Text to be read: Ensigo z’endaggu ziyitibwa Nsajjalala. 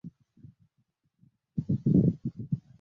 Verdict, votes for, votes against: rejected, 0, 3